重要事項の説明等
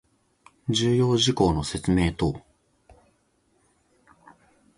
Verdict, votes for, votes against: rejected, 1, 2